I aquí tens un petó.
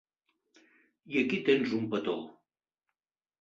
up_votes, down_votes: 3, 0